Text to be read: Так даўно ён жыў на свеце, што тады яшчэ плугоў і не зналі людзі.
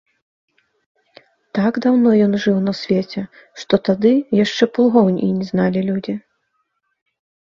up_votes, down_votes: 1, 2